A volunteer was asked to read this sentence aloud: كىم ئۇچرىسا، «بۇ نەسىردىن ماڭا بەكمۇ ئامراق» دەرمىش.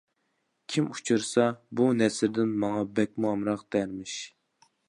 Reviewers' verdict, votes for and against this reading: accepted, 2, 0